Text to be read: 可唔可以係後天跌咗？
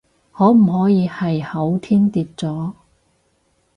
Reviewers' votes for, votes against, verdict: 2, 2, rejected